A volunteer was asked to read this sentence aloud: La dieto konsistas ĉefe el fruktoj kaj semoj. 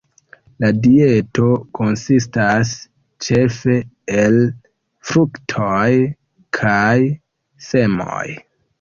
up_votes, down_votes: 2, 1